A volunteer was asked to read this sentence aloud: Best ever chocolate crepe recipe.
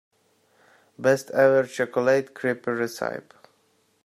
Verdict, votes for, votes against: rejected, 0, 2